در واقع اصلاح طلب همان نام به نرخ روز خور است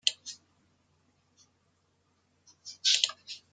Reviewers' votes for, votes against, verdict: 0, 2, rejected